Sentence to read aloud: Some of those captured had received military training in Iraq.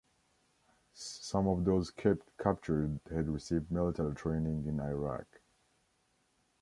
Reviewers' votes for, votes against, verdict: 0, 2, rejected